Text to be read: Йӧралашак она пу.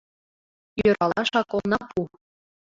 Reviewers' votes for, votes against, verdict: 1, 2, rejected